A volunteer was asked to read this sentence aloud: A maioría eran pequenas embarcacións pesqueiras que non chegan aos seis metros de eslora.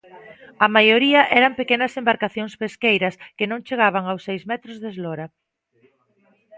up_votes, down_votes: 1, 2